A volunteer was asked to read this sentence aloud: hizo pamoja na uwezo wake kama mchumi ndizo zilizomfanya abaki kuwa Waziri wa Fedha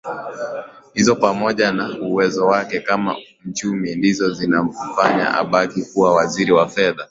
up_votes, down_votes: 2, 1